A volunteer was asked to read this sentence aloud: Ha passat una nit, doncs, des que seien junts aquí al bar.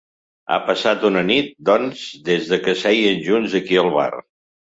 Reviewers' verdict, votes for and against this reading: rejected, 1, 2